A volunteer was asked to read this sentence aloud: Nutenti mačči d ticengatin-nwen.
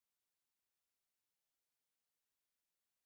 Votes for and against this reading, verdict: 0, 3, rejected